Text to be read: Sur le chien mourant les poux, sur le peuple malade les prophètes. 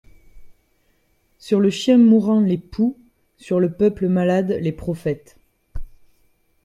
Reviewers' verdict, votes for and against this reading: accepted, 2, 0